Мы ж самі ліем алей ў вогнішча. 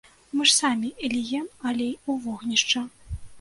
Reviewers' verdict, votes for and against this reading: rejected, 0, 2